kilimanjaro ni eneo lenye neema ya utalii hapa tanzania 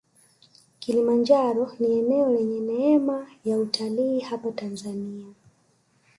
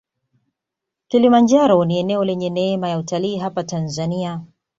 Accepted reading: second